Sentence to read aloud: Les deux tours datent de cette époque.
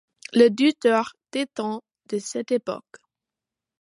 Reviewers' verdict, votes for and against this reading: accepted, 2, 1